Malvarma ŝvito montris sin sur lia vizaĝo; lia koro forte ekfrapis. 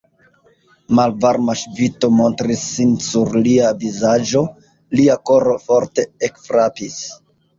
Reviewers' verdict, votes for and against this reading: rejected, 0, 2